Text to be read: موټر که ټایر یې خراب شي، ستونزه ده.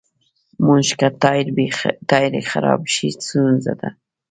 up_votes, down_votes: 1, 2